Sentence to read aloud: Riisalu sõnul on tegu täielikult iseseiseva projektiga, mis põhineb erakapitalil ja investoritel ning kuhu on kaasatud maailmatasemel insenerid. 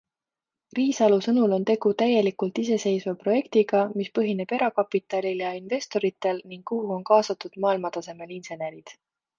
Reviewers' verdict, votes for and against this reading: accepted, 2, 0